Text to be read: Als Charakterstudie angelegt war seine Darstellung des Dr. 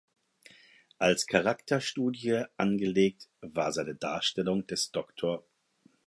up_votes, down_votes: 4, 0